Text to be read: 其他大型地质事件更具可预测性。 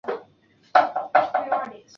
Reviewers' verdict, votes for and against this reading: rejected, 0, 2